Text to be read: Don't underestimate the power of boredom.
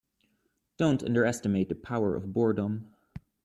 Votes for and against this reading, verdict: 2, 0, accepted